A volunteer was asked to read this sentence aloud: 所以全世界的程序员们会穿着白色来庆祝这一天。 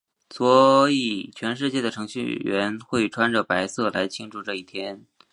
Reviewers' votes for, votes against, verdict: 3, 1, accepted